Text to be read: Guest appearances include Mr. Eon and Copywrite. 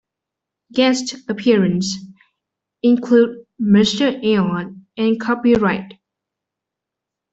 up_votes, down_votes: 1, 2